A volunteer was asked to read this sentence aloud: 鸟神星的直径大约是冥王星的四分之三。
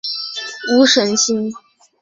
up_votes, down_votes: 0, 2